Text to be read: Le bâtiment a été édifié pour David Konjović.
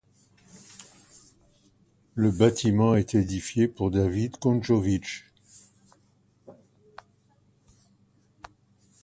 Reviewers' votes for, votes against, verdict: 2, 0, accepted